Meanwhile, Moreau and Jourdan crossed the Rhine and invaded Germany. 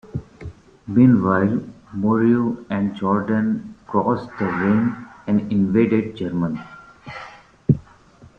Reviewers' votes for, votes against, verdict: 0, 2, rejected